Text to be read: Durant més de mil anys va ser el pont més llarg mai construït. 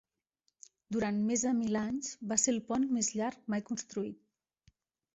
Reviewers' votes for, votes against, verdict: 3, 0, accepted